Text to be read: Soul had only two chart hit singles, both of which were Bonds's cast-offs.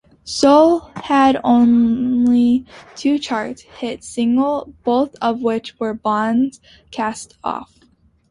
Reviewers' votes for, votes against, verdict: 0, 2, rejected